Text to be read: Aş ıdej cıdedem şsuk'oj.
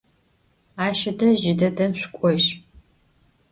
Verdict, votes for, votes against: accepted, 2, 0